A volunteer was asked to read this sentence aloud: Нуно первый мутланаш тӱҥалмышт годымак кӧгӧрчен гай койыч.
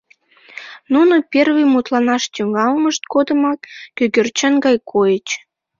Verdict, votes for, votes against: accepted, 2, 0